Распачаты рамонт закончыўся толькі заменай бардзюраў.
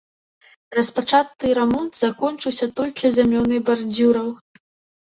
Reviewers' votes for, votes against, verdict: 0, 2, rejected